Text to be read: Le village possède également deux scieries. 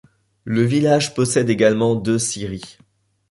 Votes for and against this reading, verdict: 2, 0, accepted